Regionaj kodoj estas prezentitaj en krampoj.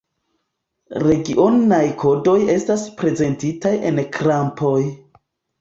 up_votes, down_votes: 2, 0